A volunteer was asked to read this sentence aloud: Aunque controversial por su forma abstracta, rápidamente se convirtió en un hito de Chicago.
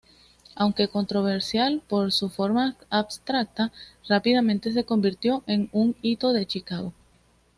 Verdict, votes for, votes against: accepted, 2, 0